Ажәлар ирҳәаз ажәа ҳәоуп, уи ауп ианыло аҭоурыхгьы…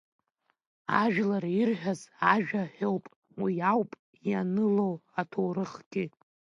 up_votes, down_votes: 2, 1